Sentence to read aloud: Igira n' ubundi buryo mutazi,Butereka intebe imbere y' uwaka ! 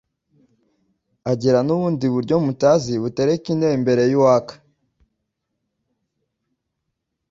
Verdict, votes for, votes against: rejected, 1, 2